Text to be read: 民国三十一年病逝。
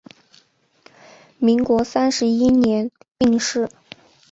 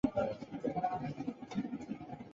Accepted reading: first